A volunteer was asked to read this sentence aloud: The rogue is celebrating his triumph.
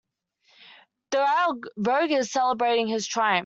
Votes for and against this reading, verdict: 0, 2, rejected